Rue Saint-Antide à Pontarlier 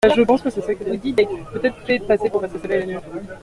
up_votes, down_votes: 0, 2